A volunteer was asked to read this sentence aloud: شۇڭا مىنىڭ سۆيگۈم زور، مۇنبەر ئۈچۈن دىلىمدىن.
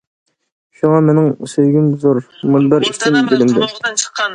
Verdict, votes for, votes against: rejected, 1, 2